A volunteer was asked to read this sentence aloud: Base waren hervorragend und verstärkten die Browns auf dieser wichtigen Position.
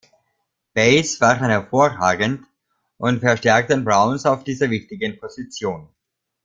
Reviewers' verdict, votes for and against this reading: rejected, 0, 2